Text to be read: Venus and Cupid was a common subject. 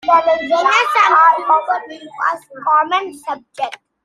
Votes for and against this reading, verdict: 0, 2, rejected